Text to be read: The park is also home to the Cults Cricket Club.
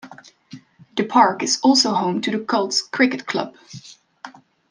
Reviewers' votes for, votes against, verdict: 2, 0, accepted